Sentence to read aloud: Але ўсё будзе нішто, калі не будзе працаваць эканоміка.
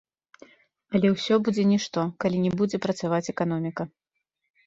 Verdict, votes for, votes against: accepted, 2, 0